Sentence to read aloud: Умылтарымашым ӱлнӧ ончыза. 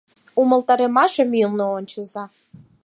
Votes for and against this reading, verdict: 4, 2, accepted